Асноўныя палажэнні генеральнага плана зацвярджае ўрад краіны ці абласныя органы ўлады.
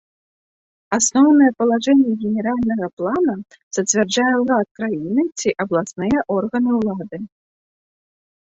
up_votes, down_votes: 2, 0